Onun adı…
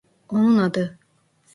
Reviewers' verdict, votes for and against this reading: accepted, 2, 0